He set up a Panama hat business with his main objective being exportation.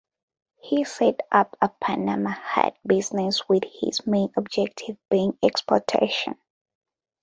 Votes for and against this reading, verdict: 2, 0, accepted